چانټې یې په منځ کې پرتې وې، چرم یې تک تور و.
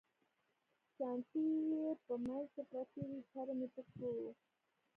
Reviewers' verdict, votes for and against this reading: rejected, 1, 2